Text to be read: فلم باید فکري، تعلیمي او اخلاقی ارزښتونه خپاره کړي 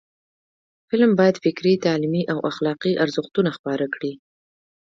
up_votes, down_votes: 2, 0